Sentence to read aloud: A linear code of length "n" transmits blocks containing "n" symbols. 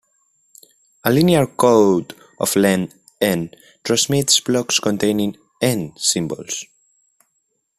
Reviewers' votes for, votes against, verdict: 2, 1, accepted